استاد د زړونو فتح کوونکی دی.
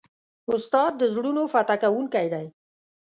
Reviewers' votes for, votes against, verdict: 2, 0, accepted